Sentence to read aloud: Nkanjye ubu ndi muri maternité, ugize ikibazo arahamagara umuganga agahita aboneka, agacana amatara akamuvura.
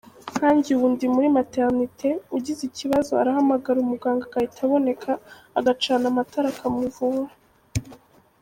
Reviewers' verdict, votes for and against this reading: rejected, 1, 2